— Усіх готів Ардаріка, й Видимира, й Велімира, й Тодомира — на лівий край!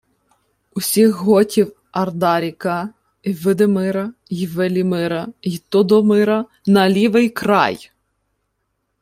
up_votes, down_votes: 2, 0